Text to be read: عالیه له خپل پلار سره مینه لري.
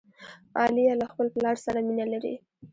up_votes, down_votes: 2, 0